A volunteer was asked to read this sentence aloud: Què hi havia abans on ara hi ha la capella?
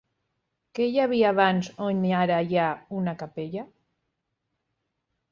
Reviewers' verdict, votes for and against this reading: rejected, 0, 2